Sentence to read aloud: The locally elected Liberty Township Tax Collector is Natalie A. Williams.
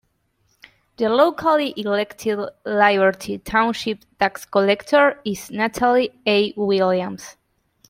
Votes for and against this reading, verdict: 1, 2, rejected